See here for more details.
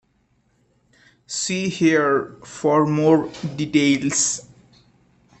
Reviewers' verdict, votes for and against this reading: rejected, 1, 2